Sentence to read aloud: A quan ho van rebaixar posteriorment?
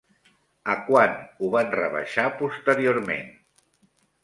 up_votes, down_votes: 1, 2